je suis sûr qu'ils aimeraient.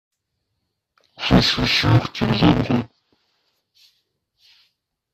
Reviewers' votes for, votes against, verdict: 1, 2, rejected